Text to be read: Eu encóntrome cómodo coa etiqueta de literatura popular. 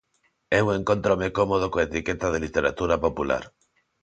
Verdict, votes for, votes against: accepted, 2, 0